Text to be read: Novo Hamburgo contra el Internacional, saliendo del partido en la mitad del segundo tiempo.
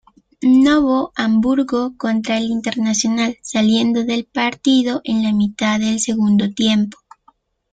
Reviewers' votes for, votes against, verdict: 2, 0, accepted